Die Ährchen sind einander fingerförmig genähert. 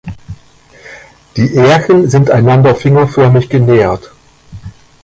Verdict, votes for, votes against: rejected, 1, 2